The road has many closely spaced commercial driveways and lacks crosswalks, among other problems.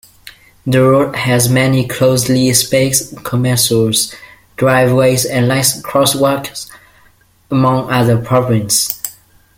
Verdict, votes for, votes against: rejected, 0, 2